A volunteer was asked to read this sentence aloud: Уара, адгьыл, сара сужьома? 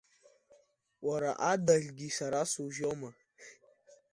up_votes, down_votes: 1, 2